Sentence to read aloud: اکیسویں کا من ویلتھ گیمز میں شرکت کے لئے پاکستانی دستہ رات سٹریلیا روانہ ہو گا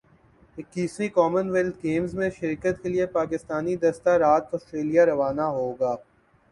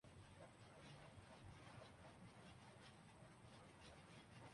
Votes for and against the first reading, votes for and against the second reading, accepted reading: 3, 0, 2, 3, first